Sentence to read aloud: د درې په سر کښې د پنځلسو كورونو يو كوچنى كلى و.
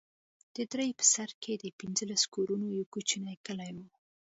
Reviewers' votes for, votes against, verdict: 2, 0, accepted